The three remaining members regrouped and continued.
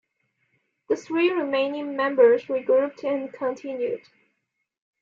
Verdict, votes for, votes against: accepted, 2, 0